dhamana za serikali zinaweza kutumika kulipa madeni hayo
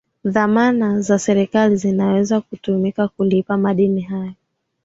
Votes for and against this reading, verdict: 2, 0, accepted